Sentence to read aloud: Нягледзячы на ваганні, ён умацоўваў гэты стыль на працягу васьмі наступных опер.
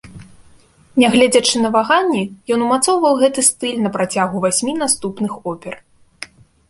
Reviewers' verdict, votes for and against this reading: accepted, 2, 0